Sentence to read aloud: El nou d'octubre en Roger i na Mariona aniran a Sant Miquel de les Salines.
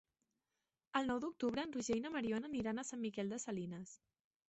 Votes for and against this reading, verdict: 3, 4, rejected